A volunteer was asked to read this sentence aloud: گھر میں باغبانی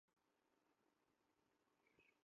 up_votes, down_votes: 0, 6